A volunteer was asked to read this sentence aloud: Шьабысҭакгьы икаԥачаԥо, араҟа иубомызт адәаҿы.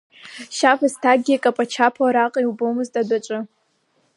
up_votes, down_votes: 3, 0